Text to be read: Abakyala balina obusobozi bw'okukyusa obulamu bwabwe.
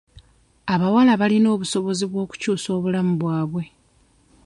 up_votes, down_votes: 1, 2